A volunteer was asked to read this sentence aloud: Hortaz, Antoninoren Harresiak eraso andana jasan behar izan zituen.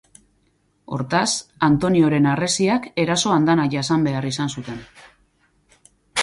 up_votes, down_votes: 0, 4